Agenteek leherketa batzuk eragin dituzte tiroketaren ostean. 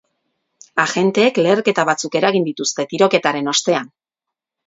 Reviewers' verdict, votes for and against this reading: accepted, 4, 0